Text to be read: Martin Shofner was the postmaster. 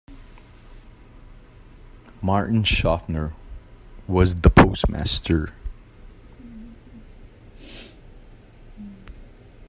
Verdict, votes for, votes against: accepted, 2, 0